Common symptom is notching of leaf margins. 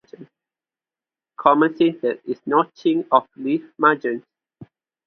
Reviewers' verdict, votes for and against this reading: rejected, 2, 2